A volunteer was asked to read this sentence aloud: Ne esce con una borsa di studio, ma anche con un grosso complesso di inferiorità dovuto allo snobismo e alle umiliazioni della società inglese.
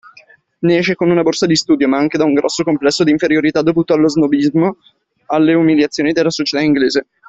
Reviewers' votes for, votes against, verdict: 2, 1, accepted